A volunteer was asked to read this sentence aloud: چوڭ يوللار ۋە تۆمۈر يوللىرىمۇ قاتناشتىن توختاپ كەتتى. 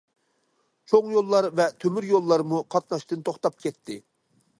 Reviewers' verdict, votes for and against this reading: rejected, 0, 2